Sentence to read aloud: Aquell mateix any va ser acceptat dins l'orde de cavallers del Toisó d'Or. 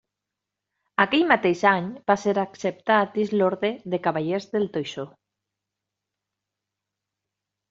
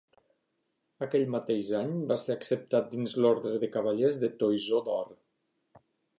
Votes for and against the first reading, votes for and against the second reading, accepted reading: 0, 2, 2, 1, second